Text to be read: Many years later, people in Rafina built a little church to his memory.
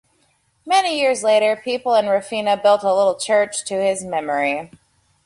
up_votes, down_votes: 2, 0